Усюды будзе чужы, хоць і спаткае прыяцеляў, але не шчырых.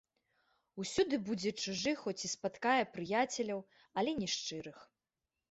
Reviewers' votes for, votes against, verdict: 3, 0, accepted